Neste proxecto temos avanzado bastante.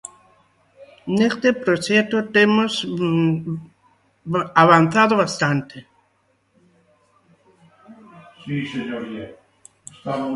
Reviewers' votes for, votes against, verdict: 0, 3, rejected